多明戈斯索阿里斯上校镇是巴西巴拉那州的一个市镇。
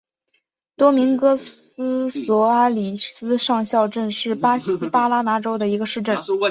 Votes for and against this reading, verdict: 6, 2, accepted